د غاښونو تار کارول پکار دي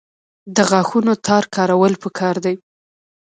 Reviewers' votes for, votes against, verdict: 1, 2, rejected